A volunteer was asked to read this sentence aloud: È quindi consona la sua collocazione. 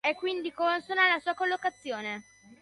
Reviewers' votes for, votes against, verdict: 2, 0, accepted